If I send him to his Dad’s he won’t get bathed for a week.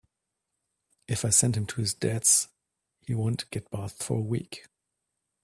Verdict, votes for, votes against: accepted, 2, 0